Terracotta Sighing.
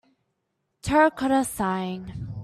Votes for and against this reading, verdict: 2, 0, accepted